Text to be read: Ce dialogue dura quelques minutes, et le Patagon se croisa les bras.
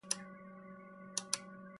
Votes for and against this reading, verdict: 0, 2, rejected